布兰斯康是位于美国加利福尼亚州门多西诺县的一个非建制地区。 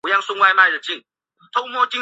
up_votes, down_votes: 0, 3